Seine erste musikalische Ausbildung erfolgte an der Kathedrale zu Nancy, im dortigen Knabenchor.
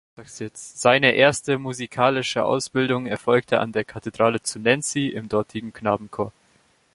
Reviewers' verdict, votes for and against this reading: rejected, 1, 2